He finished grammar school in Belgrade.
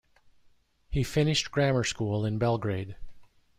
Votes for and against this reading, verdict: 2, 0, accepted